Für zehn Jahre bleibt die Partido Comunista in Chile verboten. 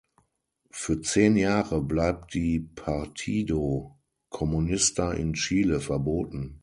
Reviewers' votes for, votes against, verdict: 3, 6, rejected